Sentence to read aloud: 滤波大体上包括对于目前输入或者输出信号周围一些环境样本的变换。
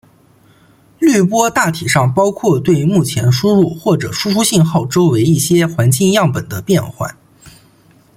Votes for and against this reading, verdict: 2, 0, accepted